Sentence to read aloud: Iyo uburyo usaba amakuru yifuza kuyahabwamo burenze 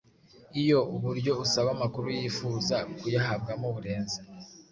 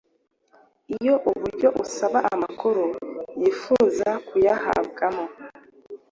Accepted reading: first